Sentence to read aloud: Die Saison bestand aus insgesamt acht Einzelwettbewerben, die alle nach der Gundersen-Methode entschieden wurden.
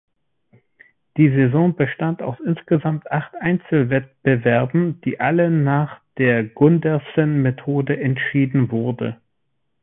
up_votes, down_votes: 0, 2